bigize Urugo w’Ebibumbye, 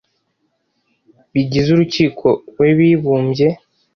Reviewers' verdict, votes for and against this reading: rejected, 0, 2